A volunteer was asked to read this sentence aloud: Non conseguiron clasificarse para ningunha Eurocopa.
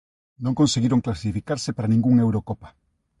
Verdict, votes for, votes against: accepted, 2, 0